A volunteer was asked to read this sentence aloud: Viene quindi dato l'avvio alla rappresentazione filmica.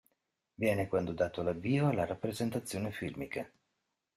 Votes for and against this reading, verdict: 0, 2, rejected